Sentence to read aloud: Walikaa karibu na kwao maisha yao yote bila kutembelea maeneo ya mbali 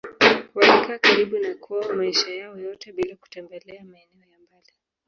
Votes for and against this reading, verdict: 2, 3, rejected